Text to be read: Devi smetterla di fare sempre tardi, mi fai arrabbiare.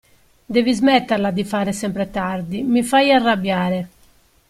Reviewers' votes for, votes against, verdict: 2, 0, accepted